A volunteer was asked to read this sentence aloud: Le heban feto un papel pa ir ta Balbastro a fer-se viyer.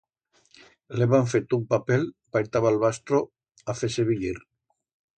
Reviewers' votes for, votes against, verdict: 2, 0, accepted